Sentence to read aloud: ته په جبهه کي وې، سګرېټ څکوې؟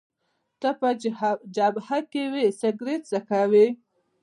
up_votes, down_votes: 1, 2